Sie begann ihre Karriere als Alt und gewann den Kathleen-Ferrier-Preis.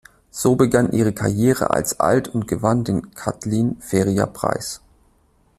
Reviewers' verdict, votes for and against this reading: rejected, 0, 2